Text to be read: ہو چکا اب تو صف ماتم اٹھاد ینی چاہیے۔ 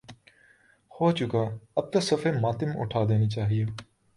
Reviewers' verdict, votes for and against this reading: accepted, 2, 0